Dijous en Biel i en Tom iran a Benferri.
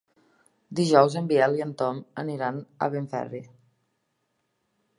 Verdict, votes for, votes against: rejected, 0, 2